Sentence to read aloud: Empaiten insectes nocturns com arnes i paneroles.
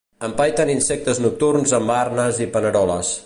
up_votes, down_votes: 0, 2